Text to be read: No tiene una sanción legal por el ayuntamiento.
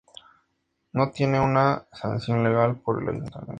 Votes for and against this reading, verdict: 2, 0, accepted